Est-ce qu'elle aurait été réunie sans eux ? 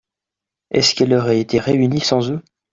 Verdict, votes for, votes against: accepted, 2, 0